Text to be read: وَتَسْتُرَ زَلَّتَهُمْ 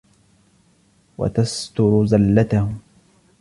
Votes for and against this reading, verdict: 2, 0, accepted